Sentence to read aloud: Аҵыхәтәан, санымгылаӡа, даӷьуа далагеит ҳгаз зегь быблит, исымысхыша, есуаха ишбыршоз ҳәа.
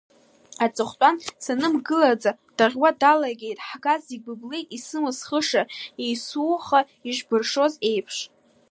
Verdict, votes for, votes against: rejected, 0, 2